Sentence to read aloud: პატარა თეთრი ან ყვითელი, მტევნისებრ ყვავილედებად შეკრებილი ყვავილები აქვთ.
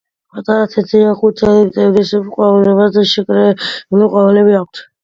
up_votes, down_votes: 1, 2